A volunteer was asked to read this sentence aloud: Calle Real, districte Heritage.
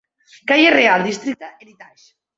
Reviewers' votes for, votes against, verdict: 0, 2, rejected